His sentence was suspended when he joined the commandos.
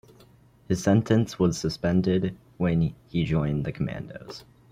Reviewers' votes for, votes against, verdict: 2, 1, accepted